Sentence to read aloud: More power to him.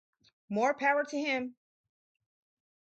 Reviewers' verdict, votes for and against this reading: rejected, 2, 2